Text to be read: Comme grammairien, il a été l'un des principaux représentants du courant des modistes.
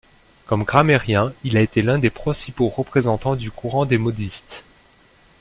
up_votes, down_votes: 1, 2